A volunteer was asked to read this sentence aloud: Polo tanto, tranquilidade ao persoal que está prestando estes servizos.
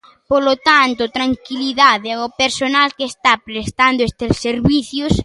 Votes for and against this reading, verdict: 0, 2, rejected